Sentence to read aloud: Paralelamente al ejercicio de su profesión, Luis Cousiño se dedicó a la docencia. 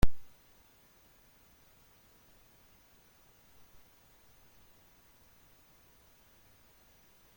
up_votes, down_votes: 0, 2